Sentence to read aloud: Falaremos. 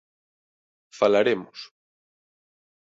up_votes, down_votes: 2, 0